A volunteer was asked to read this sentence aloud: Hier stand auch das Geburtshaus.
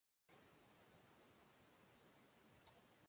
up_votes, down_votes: 0, 2